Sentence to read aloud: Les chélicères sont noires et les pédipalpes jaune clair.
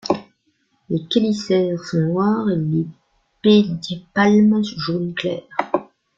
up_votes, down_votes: 0, 2